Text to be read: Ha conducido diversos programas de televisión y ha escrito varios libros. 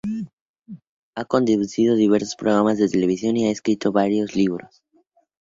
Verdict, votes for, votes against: accepted, 4, 0